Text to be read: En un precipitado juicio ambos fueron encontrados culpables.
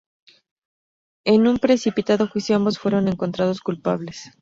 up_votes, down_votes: 2, 2